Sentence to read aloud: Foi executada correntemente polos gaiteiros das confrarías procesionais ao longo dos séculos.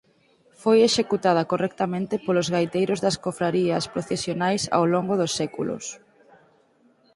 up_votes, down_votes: 2, 4